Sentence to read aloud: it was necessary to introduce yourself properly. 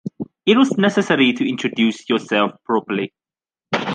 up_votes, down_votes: 2, 0